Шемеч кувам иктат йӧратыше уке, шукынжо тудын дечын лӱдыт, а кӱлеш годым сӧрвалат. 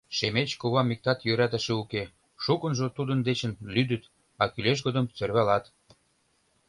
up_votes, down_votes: 2, 0